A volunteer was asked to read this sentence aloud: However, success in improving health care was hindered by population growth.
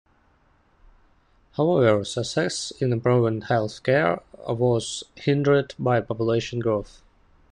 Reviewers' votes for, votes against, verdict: 1, 2, rejected